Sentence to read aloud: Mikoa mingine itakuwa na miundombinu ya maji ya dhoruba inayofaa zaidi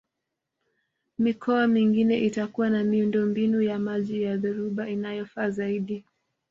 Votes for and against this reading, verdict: 2, 0, accepted